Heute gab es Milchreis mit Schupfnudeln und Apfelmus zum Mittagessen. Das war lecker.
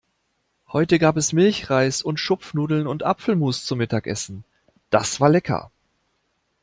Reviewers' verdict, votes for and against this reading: rejected, 1, 2